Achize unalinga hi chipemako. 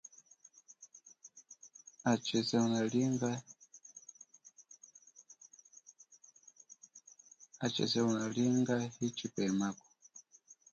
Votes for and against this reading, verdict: 1, 2, rejected